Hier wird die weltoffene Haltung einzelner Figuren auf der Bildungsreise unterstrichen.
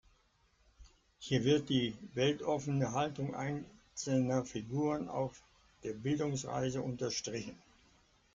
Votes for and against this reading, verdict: 1, 2, rejected